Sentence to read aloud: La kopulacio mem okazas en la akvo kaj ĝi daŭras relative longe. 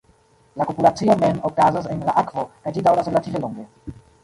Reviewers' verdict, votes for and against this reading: rejected, 0, 2